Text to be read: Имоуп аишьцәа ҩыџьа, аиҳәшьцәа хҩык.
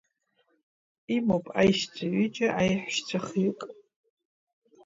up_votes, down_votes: 0, 2